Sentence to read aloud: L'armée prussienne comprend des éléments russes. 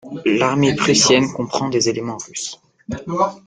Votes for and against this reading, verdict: 0, 2, rejected